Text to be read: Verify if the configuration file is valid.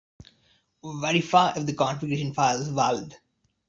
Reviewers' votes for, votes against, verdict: 1, 2, rejected